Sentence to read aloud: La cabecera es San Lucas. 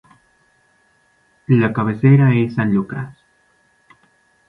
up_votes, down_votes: 2, 0